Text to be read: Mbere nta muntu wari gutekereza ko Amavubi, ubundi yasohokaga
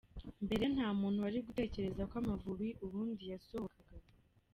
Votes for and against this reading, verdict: 0, 2, rejected